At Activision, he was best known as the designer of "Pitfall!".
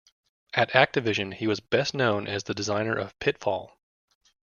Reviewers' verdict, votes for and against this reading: accepted, 2, 0